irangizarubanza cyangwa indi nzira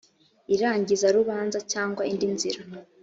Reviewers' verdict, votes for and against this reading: accepted, 2, 0